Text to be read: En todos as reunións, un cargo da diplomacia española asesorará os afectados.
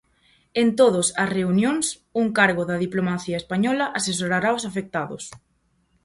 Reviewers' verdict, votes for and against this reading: accepted, 2, 0